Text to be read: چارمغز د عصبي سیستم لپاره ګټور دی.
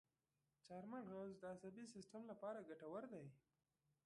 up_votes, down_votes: 1, 2